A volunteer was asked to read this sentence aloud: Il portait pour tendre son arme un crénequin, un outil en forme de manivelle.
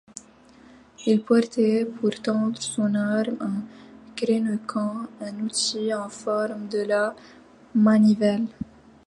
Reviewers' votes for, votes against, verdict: 0, 2, rejected